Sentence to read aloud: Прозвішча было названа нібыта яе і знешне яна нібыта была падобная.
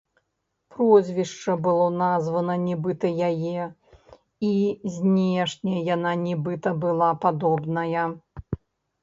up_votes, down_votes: 1, 2